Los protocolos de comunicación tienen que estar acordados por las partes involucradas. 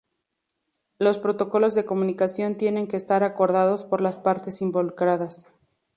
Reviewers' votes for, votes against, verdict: 4, 0, accepted